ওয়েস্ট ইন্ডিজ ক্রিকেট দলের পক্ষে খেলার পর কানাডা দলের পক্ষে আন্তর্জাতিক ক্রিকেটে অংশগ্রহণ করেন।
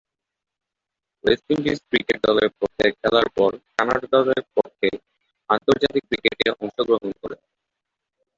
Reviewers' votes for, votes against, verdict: 0, 2, rejected